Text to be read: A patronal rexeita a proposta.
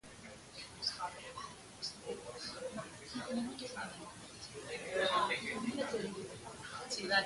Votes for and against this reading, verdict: 0, 2, rejected